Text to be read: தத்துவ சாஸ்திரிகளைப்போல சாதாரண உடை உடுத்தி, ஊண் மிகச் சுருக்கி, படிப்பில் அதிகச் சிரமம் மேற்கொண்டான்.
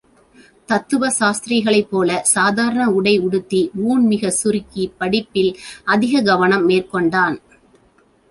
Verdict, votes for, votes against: rejected, 1, 2